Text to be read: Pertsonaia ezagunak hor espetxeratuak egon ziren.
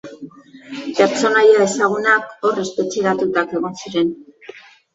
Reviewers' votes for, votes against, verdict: 0, 2, rejected